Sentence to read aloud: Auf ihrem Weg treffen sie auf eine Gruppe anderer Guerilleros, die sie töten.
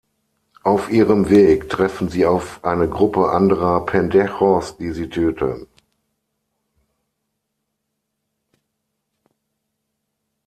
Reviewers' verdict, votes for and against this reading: rejected, 0, 6